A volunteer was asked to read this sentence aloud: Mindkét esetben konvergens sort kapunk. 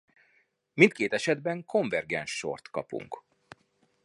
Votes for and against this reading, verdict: 2, 0, accepted